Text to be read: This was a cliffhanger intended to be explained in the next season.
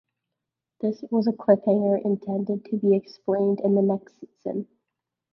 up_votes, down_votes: 0, 2